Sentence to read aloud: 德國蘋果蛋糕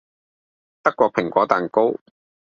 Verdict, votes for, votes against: accepted, 2, 0